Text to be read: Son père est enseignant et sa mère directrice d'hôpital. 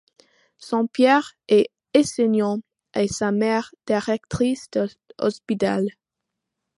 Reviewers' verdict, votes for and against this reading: rejected, 0, 2